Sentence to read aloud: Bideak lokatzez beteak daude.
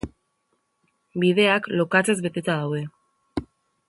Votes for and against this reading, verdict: 0, 2, rejected